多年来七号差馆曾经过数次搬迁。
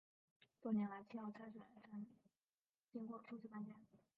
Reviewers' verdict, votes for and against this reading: rejected, 2, 3